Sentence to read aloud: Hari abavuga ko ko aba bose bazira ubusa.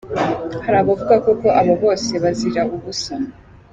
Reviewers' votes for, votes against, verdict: 2, 0, accepted